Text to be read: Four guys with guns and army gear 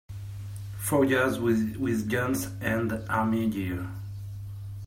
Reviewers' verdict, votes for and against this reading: rejected, 0, 2